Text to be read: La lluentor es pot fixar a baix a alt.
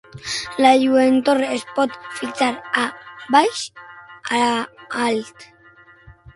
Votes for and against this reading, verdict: 0, 6, rejected